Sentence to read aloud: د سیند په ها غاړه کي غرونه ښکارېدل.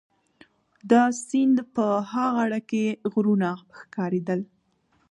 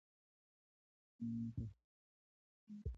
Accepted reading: first